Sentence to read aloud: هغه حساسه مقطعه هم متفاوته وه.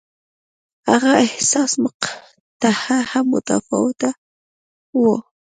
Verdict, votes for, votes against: rejected, 1, 2